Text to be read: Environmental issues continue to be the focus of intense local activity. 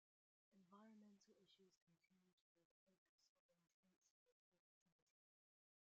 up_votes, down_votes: 0, 2